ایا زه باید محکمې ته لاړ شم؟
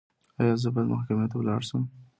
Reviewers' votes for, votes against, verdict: 2, 0, accepted